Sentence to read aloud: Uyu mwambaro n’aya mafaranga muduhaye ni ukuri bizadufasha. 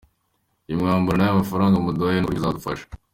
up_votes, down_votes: 2, 1